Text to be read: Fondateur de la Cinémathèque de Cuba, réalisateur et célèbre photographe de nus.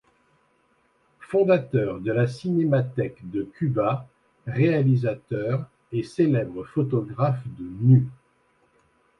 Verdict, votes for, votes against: accepted, 2, 0